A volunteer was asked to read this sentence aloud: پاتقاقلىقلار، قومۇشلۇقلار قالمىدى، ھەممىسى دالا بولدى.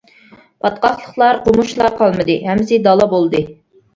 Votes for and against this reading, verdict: 1, 2, rejected